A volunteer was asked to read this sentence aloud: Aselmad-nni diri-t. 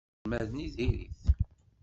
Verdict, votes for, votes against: rejected, 1, 2